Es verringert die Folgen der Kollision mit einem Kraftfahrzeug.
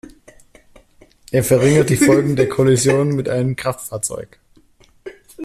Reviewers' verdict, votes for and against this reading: rejected, 1, 2